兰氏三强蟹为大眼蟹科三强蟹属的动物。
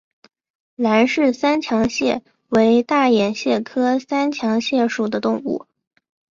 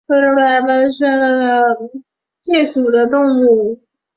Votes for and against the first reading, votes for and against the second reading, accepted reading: 4, 0, 2, 2, first